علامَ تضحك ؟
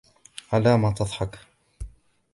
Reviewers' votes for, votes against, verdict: 2, 0, accepted